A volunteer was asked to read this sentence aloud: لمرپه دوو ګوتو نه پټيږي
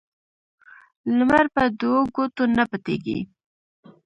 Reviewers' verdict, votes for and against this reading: rejected, 1, 2